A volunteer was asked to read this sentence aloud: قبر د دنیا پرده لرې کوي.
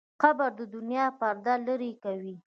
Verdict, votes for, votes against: accepted, 2, 0